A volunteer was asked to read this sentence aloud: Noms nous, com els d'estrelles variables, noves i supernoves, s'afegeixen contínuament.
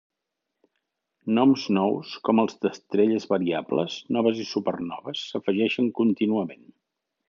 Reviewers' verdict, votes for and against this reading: accepted, 2, 0